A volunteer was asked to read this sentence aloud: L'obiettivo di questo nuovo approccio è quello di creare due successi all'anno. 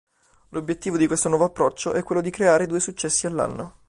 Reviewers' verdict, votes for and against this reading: accepted, 2, 0